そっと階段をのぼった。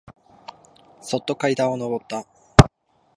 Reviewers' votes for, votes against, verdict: 2, 0, accepted